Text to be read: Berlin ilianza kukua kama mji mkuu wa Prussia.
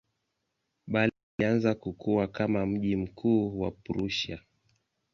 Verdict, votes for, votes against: rejected, 1, 2